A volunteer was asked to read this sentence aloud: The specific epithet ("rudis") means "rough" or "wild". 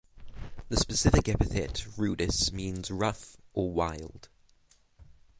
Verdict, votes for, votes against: rejected, 0, 6